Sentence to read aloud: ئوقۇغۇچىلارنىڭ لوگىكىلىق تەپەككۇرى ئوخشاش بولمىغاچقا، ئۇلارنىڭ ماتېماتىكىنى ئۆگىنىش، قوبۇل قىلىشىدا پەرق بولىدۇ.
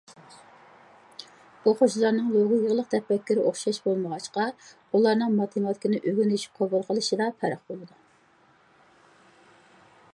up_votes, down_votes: 0, 2